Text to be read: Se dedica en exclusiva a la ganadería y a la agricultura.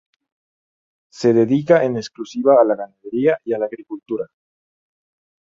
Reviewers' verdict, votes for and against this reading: rejected, 0, 2